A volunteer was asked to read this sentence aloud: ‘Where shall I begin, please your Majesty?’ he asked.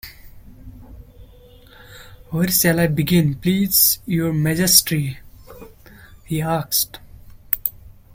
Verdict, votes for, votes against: rejected, 0, 2